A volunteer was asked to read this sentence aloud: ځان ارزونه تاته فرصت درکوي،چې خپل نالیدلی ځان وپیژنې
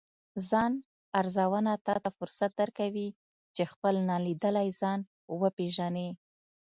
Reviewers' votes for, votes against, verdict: 2, 0, accepted